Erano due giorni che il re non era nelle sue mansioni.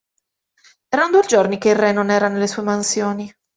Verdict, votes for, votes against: rejected, 1, 2